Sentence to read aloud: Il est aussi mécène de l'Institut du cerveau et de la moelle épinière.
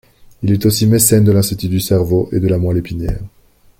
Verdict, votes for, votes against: accepted, 2, 1